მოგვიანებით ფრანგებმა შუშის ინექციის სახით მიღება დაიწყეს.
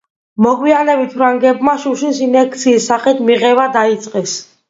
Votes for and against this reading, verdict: 1, 2, rejected